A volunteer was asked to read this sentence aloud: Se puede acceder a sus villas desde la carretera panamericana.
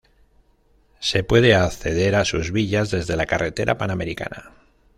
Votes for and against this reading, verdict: 2, 0, accepted